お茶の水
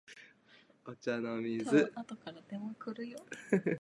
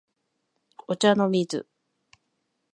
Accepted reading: second